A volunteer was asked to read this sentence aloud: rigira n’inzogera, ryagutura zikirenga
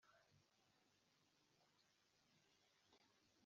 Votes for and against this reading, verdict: 0, 4, rejected